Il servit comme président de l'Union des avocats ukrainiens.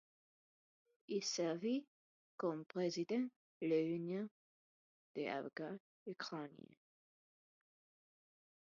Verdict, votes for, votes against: rejected, 1, 2